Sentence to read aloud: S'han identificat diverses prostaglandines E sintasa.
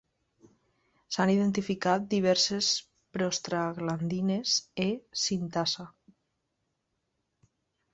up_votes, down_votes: 2, 0